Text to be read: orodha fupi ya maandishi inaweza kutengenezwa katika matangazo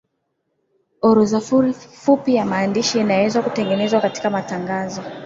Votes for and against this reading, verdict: 3, 4, rejected